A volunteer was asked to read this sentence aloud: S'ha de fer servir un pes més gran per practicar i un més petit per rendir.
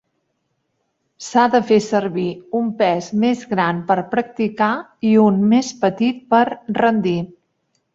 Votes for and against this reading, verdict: 3, 0, accepted